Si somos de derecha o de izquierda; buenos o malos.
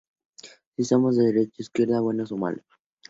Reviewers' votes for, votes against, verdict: 2, 0, accepted